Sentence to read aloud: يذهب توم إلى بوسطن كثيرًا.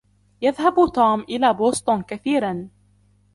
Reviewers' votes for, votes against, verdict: 2, 0, accepted